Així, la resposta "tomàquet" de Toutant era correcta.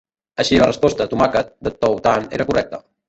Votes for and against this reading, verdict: 0, 2, rejected